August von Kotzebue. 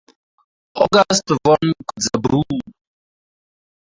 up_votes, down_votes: 0, 4